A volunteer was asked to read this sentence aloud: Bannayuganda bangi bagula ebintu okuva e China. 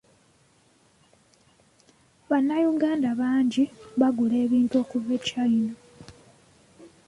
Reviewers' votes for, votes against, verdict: 0, 2, rejected